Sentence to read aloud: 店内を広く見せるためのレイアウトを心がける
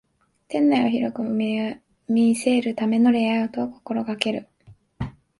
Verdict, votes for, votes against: accepted, 2, 0